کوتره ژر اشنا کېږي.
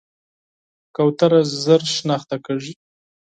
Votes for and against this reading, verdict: 2, 4, rejected